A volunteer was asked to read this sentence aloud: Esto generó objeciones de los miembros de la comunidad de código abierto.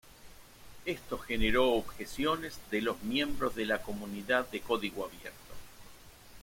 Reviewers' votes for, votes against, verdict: 0, 2, rejected